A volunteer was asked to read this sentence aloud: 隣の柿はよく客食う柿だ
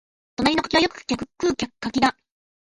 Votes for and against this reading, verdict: 2, 0, accepted